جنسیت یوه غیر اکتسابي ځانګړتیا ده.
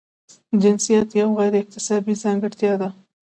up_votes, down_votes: 2, 1